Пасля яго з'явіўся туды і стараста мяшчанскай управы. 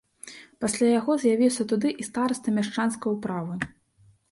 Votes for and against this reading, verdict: 5, 0, accepted